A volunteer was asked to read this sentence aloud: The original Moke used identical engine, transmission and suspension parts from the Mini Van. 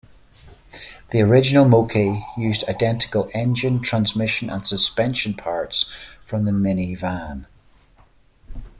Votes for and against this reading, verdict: 1, 2, rejected